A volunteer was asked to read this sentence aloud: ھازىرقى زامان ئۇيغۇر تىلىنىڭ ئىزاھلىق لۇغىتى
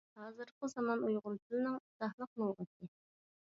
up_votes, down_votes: 2, 0